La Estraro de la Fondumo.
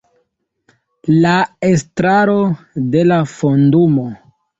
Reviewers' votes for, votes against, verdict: 2, 1, accepted